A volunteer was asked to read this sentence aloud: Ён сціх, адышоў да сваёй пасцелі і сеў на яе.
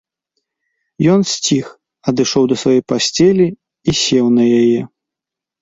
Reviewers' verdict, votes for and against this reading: accepted, 2, 0